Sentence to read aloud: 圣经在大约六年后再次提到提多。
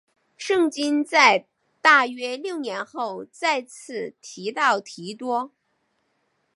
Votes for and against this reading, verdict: 2, 0, accepted